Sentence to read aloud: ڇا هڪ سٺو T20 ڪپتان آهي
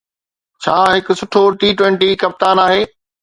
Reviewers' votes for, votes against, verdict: 0, 2, rejected